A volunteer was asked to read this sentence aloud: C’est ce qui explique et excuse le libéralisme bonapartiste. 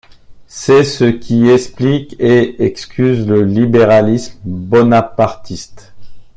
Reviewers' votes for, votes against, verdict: 2, 0, accepted